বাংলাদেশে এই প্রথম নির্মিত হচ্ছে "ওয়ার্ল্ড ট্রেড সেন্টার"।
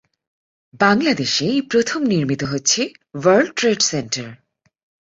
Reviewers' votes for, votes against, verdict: 4, 0, accepted